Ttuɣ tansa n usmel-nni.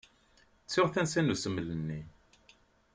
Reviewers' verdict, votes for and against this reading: accepted, 2, 0